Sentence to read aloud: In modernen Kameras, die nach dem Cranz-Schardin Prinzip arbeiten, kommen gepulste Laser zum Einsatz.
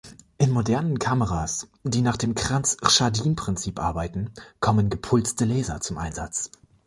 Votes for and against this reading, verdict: 2, 0, accepted